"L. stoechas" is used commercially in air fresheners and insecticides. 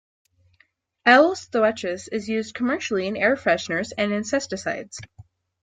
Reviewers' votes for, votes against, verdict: 0, 2, rejected